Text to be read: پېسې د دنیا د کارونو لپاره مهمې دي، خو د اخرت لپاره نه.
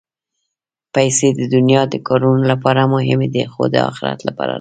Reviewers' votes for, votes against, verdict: 0, 2, rejected